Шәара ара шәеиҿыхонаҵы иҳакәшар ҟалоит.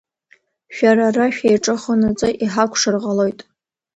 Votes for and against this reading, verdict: 2, 0, accepted